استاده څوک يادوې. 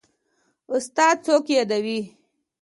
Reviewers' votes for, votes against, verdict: 2, 0, accepted